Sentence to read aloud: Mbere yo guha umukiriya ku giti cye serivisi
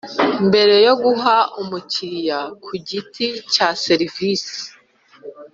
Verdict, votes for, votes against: rejected, 0, 2